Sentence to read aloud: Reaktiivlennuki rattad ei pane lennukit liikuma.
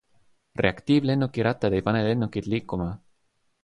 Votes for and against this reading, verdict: 3, 0, accepted